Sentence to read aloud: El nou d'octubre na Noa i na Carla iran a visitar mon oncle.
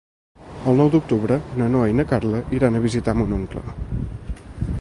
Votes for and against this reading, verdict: 0, 2, rejected